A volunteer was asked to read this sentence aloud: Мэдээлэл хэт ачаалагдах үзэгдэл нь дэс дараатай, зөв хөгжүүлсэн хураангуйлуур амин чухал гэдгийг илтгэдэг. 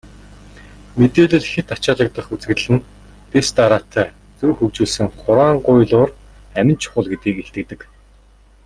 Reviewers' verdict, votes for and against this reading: accepted, 2, 0